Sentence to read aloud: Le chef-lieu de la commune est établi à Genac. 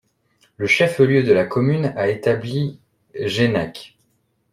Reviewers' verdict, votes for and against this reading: rejected, 1, 2